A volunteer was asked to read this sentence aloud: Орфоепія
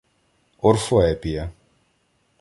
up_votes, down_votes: 2, 0